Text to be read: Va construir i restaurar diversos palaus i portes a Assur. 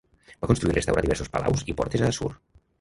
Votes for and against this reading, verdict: 0, 2, rejected